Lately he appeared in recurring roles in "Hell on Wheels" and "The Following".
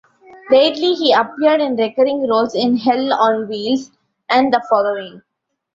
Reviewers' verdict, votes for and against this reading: rejected, 0, 2